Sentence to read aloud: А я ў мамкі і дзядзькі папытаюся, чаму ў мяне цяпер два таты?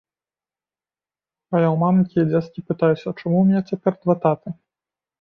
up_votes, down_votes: 0, 2